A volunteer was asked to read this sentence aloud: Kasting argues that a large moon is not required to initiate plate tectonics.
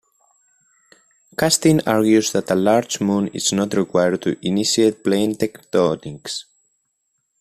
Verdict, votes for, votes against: accepted, 2, 1